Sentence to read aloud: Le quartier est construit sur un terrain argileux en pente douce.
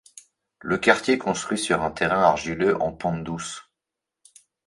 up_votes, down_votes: 1, 2